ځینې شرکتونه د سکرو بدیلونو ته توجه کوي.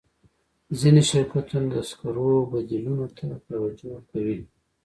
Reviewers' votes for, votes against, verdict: 2, 0, accepted